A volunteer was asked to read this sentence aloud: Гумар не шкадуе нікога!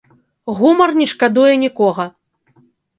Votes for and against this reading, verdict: 2, 0, accepted